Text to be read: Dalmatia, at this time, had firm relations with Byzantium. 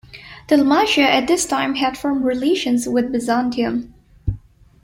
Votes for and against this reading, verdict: 3, 0, accepted